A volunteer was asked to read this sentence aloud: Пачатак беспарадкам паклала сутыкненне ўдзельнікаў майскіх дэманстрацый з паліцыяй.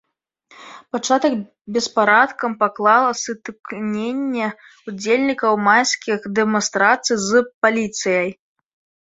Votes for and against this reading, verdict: 2, 0, accepted